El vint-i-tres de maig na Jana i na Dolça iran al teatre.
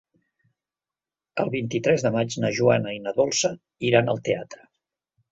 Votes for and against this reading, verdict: 1, 2, rejected